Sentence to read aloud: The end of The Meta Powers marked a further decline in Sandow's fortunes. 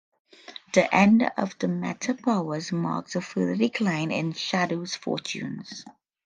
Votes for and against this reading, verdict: 0, 2, rejected